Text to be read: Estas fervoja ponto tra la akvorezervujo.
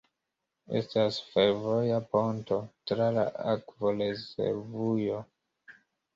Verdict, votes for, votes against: rejected, 1, 2